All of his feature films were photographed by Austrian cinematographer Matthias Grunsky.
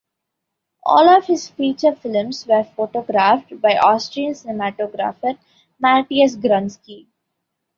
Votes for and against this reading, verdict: 0, 2, rejected